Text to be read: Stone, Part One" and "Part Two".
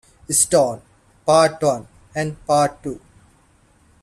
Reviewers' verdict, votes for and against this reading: accepted, 2, 1